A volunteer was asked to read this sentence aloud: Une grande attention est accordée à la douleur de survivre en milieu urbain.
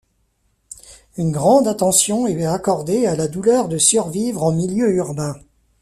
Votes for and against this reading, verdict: 0, 2, rejected